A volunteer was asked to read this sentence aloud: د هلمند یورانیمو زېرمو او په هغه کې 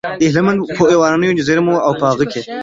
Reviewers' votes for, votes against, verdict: 1, 2, rejected